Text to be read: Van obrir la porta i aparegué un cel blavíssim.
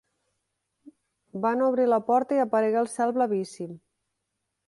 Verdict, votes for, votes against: rejected, 1, 2